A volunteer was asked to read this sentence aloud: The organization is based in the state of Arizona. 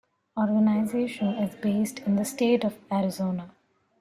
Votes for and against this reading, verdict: 2, 1, accepted